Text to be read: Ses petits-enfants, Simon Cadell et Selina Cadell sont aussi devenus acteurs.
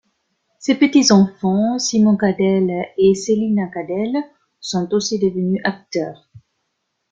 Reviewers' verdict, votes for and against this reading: accepted, 2, 0